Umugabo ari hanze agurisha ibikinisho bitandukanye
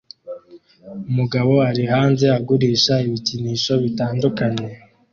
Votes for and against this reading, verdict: 2, 0, accepted